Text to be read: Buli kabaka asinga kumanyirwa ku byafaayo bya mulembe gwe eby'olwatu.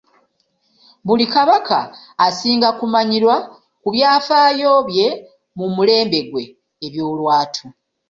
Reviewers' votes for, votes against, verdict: 1, 2, rejected